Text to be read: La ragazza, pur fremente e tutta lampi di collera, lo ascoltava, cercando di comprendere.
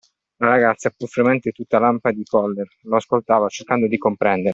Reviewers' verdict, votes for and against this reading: accepted, 2, 0